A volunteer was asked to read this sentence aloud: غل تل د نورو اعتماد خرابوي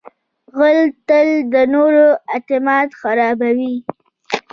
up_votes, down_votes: 2, 0